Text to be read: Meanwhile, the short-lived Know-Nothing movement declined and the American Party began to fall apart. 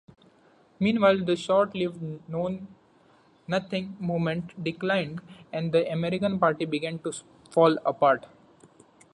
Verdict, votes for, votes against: accepted, 2, 0